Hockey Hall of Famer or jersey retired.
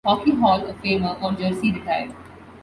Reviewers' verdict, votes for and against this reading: accepted, 2, 0